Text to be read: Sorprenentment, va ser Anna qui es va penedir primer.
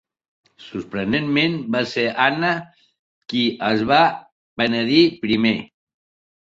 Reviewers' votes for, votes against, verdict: 2, 0, accepted